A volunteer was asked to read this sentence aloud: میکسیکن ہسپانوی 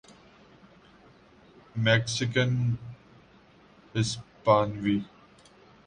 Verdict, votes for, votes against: rejected, 1, 2